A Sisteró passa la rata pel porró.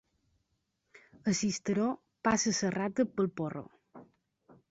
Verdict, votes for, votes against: rejected, 0, 3